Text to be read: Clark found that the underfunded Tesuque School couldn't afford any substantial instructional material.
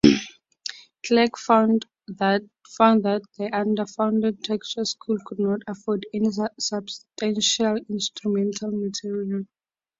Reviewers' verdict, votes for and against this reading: rejected, 0, 4